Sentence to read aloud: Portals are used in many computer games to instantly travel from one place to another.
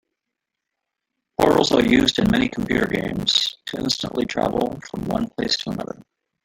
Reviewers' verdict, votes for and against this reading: rejected, 0, 2